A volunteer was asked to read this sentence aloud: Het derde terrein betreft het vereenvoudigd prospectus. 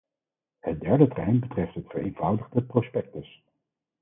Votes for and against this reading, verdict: 2, 4, rejected